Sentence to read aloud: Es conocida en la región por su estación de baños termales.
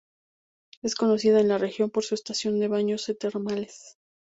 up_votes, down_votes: 4, 0